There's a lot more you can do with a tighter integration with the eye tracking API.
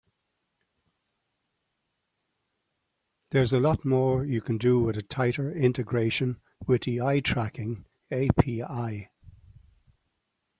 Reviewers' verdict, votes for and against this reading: accepted, 3, 0